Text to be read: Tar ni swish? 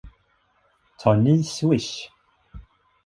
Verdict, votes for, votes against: accepted, 2, 0